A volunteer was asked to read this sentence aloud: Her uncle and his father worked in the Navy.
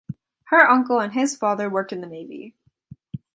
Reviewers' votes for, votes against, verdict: 2, 0, accepted